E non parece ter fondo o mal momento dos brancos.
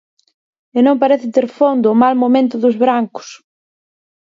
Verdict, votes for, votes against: rejected, 2, 4